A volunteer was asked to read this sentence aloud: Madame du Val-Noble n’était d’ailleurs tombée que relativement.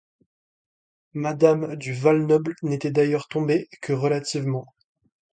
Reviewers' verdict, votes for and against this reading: accepted, 2, 0